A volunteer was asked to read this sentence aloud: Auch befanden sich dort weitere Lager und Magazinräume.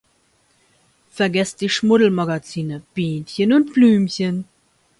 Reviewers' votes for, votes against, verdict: 0, 2, rejected